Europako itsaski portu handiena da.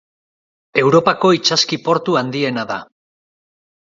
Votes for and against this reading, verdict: 2, 0, accepted